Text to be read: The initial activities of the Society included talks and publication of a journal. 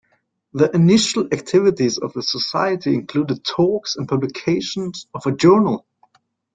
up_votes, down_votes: 2, 1